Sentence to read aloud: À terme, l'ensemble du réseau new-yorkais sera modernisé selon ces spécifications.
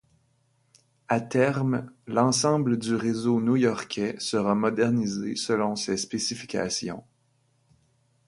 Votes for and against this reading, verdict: 2, 0, accepted